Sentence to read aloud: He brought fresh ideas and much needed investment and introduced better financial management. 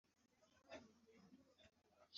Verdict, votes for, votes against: rejected, 0, 2